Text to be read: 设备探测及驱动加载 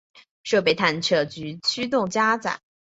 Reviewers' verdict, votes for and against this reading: accepted, 4, 0